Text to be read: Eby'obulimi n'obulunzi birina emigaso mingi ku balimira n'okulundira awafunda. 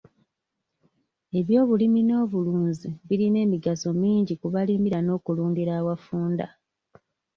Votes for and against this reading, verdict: 2, 0, accepted